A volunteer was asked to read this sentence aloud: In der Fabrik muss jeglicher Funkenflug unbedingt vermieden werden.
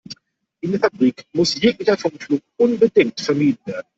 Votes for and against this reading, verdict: 0, 2, rejected